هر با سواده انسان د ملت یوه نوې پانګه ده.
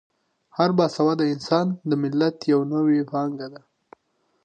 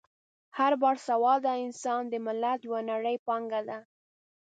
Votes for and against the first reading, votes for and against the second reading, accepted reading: 2, 0, 1, 2, first